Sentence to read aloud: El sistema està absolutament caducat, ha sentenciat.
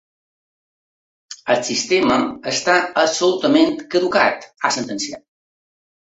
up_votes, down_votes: 2, 0